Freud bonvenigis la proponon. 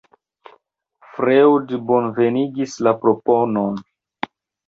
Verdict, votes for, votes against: rejected, 0, 2